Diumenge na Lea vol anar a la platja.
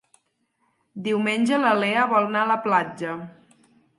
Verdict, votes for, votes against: rejected, 0, 4